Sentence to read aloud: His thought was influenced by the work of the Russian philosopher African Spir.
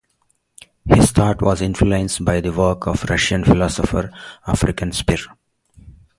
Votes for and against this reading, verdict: 4, 0, accepted